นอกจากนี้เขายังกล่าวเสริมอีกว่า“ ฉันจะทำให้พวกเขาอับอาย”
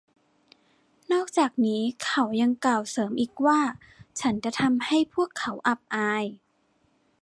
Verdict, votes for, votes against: accepted, 2, 0